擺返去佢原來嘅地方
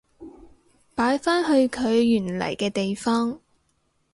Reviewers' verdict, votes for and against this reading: rejected, 0, 2